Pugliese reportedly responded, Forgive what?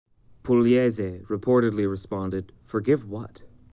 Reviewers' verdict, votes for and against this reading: accepted, 2, 0